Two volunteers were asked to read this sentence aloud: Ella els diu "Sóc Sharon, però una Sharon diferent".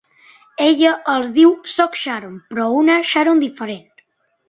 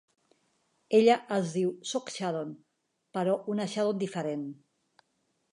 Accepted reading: first